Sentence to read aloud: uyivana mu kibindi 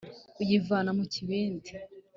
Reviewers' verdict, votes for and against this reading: accepted, 2, 1